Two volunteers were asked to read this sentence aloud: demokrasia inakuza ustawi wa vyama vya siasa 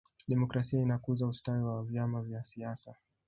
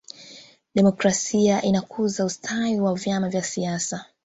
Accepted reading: first